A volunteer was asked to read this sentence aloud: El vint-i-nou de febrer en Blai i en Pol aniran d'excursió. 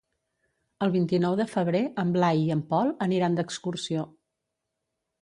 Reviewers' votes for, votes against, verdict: 2, 0, accepted